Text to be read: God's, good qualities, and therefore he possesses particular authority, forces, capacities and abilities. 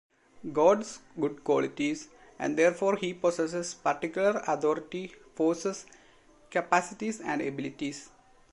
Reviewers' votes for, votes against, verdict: 2, 0, accepted